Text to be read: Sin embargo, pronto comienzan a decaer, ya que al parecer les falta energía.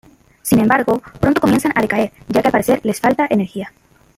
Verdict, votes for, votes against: rejected, 0, 2